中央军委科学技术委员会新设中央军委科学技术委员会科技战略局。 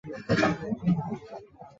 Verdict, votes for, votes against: rejected, 1, 5